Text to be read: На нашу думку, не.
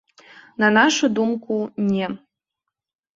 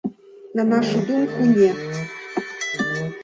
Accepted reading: first